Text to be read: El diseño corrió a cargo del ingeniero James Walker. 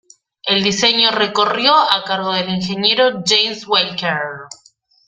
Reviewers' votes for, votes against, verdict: 0, 2, rejected